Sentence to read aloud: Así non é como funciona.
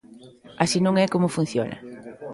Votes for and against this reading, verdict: 2, 1, accepted